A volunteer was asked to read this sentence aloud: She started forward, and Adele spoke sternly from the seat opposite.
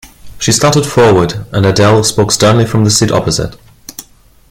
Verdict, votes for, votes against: accepted, 2, 0